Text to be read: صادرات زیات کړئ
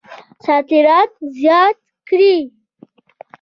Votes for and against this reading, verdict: 2, 0, accepted